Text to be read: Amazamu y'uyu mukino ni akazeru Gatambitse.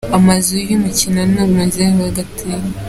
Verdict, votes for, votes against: rejected, 1, 2